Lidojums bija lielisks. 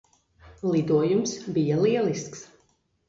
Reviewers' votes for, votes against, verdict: 1, 2, rejected